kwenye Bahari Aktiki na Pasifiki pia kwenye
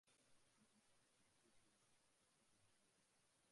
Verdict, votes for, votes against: rejected, 0, 3